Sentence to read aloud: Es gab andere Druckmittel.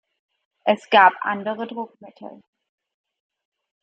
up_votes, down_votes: 2, 0